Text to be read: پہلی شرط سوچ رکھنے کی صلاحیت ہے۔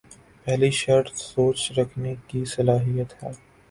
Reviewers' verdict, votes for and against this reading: accepted, 17, 0